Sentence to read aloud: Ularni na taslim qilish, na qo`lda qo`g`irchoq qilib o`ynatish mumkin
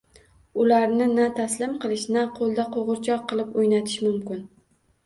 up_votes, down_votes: 2, 0